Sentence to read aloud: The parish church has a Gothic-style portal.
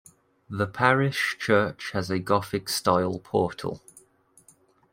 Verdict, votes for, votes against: accepted, 2, 1